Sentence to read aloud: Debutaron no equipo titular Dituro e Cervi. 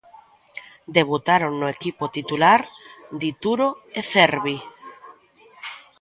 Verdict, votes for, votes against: rejected, 1, 2